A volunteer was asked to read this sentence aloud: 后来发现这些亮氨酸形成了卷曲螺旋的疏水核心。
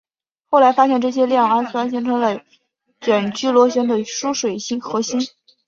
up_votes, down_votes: 1, 5